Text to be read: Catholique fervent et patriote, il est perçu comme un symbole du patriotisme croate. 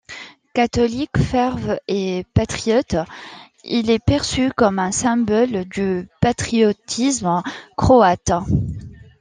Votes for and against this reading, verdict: 0, 2, rejected